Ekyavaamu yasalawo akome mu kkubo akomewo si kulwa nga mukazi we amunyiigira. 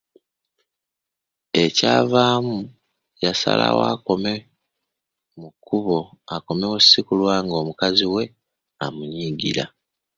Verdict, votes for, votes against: rejected, 0, 2